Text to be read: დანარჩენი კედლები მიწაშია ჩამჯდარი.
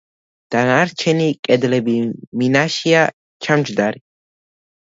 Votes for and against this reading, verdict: 1, 2, rejected